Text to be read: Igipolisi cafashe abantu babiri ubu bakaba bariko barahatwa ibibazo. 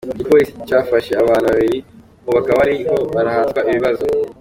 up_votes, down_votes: 2, 1